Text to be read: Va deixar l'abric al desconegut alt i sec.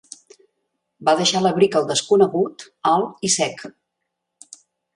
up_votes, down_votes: 2, 0